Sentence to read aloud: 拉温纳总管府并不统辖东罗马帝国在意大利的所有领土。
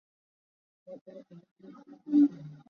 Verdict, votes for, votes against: rejected, 0, 2